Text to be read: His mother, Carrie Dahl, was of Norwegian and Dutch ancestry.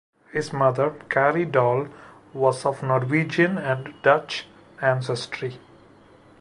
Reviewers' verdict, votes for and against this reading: accepted, 2, 1